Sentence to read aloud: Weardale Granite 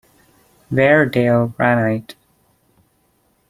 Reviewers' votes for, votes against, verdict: 1, 2, rejected